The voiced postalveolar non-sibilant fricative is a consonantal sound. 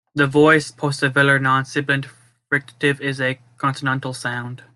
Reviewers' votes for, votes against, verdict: 1, 2, rejected